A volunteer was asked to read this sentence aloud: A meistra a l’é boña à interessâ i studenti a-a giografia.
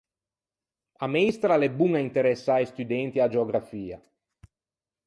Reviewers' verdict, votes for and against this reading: rejected, 0, 4